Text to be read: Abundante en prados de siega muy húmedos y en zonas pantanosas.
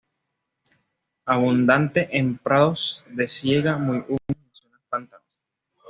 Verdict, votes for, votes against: rejected, 1, 2